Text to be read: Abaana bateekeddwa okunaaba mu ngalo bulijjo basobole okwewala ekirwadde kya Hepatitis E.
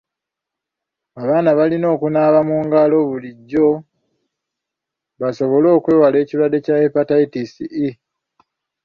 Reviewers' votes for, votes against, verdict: 0, 3, rejected